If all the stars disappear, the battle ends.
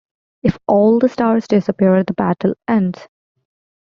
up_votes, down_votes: 2, 0